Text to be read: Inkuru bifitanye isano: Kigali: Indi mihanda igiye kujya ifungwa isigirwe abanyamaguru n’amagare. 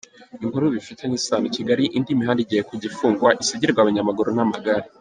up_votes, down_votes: 1, 2